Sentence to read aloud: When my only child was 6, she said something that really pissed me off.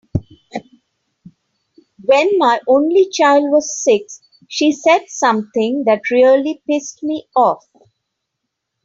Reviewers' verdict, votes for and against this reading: rejected, 0, 2